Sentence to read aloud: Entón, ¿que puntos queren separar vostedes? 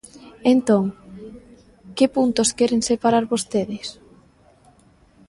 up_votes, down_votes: 2, 0